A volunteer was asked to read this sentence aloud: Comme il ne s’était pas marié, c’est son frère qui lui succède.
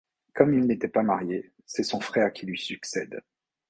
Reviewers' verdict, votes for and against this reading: rejected, 1, 2